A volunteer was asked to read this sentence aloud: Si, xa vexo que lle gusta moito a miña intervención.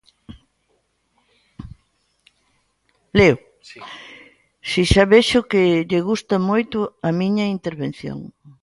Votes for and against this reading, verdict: 0, 2, rejected